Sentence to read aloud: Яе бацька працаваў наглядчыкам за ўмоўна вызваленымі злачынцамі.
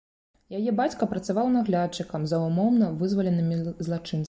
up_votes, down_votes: 0, 2